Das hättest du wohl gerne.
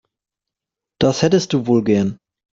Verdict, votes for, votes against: rejected, 1, 3